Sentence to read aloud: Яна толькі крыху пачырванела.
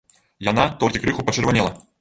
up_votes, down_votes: 0, 2